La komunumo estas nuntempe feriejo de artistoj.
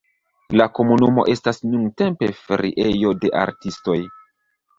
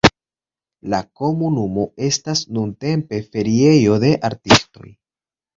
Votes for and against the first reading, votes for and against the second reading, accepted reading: 1, 2, 2, 0, second